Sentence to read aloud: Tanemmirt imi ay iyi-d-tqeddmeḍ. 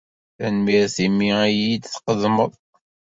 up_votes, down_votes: 2, 1